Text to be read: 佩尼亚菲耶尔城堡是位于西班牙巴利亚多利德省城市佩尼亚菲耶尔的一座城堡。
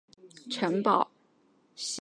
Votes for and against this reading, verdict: 1, 3, rejected